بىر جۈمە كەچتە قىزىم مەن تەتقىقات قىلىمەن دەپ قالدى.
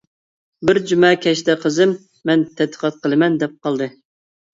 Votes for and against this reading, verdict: 2, 0, accepted